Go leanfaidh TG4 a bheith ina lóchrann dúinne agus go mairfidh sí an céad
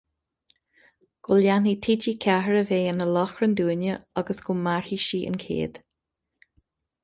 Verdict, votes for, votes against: rejected, 0, 2